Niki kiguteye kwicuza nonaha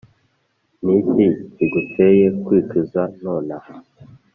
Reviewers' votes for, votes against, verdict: 2, 0, accepted